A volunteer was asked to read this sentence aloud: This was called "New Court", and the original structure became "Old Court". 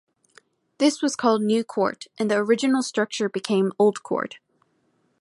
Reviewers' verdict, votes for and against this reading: accepted, 2, 0